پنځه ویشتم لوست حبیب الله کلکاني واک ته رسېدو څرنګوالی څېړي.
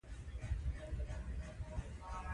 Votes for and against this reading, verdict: 0, 2, rejected